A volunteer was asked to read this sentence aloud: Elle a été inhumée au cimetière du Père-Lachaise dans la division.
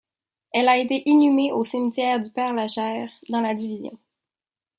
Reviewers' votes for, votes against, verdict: 0, 2, rejected